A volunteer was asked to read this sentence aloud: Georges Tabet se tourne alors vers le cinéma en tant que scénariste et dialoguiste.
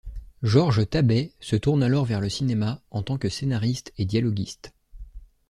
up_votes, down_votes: 2, 0